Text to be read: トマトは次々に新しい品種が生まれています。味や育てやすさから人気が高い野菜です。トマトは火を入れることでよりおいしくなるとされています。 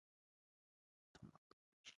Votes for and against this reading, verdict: 0, 2, rejected